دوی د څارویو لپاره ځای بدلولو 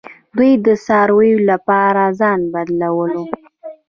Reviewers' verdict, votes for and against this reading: rejected, 1, 2